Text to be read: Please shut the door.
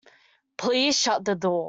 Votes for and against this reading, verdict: 2, 0, accepted